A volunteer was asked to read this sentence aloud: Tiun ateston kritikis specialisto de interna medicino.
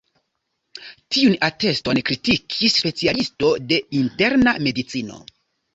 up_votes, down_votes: 2, 0